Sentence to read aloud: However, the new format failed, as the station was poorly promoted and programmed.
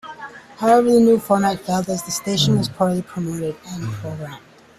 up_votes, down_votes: 1, 2